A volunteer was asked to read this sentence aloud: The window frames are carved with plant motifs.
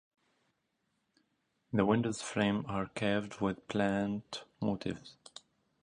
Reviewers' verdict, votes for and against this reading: rejected, 0, 2